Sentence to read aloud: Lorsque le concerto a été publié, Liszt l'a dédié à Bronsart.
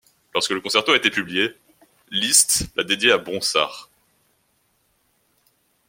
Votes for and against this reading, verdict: 2, 0, accepted